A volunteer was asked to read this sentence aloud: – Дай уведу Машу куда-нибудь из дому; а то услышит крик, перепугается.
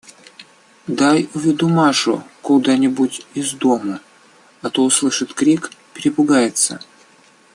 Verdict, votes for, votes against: rejected, 1, 2